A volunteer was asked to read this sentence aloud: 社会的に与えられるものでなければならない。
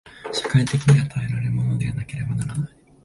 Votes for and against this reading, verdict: 0, 2, rejected